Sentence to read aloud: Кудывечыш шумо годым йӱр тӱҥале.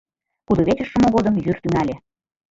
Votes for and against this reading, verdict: 2, 0, accepted